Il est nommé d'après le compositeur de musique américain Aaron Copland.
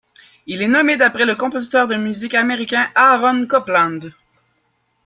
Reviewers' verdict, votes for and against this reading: accepted, 2, 0